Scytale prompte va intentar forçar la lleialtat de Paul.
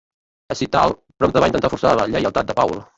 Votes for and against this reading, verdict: 0, 2, rejected